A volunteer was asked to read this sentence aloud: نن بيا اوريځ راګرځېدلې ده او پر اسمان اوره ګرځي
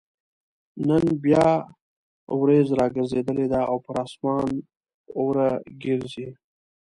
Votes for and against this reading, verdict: 1, 2, rejected